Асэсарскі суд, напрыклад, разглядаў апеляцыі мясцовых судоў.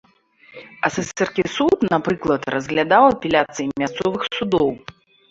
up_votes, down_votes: 1, 2